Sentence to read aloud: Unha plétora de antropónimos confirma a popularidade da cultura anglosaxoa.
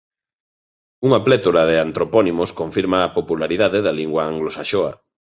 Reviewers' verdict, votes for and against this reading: rejected, 1, 2